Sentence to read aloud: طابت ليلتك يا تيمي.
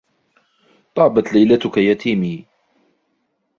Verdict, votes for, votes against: rejected, 0, 2